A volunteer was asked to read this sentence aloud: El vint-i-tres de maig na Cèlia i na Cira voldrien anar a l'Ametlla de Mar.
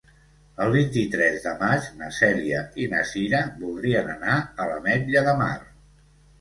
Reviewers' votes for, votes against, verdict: 2, 0, accepted